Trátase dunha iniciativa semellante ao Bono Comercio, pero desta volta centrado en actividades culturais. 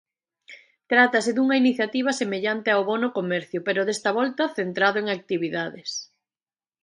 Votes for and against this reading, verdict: 1, 2, rejected